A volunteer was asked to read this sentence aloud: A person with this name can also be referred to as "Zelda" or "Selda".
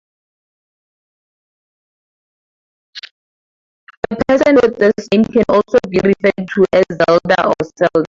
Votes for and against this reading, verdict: 0, 4, rejected